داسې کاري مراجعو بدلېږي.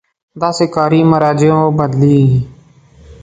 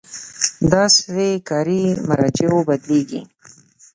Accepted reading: first